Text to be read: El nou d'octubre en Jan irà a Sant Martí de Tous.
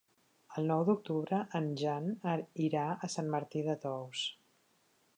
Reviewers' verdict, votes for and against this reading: rejected, 1, 2